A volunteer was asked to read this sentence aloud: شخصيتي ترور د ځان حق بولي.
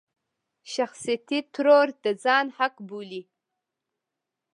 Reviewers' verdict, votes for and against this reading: rejected, 1, 2